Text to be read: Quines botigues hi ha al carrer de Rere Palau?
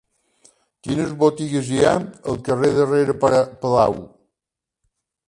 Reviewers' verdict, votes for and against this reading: rejected, 1, 2